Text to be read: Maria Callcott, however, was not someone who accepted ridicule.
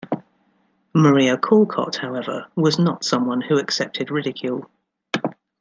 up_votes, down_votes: 2, 1